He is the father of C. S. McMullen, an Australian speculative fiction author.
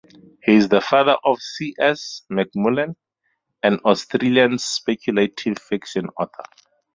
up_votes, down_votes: 8, 2